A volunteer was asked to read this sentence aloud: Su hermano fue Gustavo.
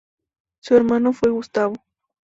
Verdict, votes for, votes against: accepted, 2, 0